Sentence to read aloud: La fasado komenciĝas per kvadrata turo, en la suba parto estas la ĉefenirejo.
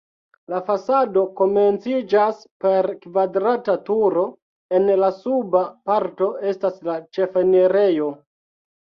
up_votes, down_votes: 2, 0